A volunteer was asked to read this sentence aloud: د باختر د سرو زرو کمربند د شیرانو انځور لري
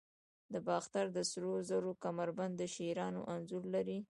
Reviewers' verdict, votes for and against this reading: rejected, 0, 2